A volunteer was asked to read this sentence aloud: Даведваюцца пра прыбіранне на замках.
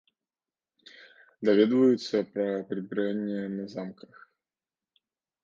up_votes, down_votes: 2, 1